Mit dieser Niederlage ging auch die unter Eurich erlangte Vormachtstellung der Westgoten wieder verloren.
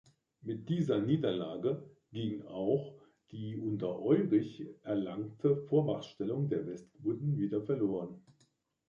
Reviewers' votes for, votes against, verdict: 2, 0, accepted